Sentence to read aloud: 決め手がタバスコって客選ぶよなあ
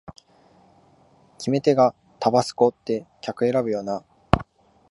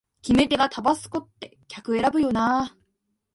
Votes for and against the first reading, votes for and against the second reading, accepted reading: 1, 2, 2, 0, second